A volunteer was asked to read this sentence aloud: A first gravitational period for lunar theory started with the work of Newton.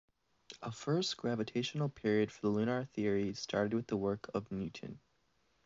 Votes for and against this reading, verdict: 2, 0, accepted